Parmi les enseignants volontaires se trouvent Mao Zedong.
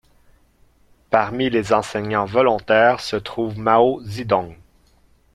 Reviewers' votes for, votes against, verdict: 0, 3, rejected